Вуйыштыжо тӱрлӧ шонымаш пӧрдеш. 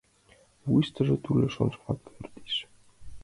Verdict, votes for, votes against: rejected, 1, 2